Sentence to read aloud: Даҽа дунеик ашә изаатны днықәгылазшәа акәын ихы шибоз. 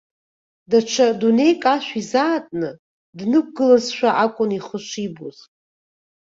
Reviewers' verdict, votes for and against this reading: accepted, 2, 0